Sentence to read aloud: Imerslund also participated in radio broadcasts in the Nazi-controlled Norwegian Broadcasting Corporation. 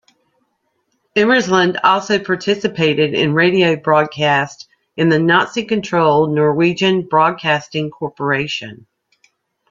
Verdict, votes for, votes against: accepted, 2, 0